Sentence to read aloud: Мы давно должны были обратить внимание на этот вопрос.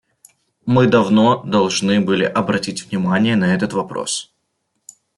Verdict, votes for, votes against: accepted, 2, 0